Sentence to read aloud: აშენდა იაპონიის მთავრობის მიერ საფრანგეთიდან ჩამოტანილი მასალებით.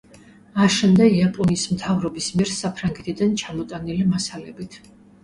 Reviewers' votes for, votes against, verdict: 2, 0, accepted